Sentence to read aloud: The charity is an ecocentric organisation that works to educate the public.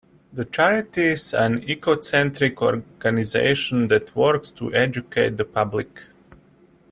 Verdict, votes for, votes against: rejected, 1, 2